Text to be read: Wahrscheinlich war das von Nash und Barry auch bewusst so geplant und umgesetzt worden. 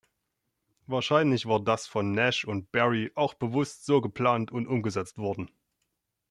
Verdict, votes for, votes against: accepted, 2, 0